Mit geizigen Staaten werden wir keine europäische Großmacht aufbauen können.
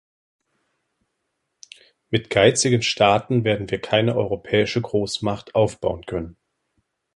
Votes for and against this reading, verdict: 2, 1, accepted